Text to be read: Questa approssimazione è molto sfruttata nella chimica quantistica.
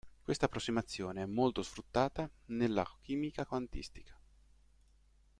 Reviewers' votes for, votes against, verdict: 2, 0, accepted